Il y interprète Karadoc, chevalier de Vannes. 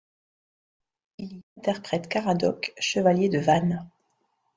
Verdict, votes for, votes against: rejected, 1, 2